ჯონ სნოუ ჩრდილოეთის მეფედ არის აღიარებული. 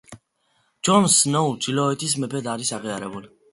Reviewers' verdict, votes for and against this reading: accepted, 2, 0